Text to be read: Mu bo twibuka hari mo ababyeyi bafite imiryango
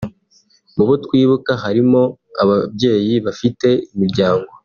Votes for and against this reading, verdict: 2, 1, accepted